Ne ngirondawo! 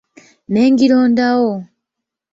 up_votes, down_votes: 2, 0